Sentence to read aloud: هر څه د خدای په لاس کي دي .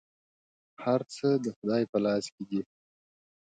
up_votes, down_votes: 2, 0